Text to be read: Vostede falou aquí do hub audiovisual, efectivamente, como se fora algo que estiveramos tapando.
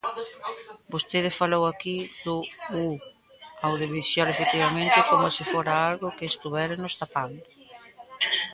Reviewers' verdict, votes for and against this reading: rejected, 0, 2